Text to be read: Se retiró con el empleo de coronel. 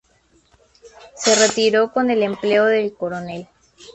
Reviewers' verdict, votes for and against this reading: rejected, 2, 2